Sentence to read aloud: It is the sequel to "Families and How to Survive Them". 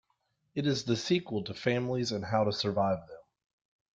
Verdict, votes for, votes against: accepted, 2, 0